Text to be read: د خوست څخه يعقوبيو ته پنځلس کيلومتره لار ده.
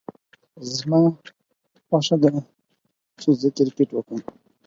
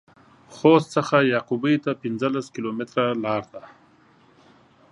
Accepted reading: second